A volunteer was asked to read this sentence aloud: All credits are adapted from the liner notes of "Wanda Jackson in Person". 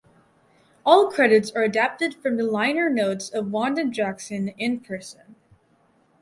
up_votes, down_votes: 4, 0